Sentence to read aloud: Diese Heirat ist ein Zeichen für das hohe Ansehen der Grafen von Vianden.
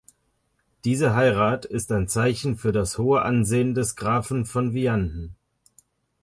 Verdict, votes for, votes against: rejected, 0, 2